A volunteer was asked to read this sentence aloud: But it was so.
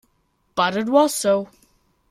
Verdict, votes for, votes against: accepted, 2, 1